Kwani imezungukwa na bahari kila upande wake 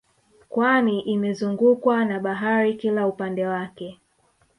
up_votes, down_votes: 2, 0